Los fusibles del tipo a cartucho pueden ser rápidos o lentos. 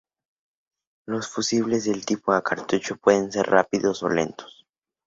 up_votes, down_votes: 2, 0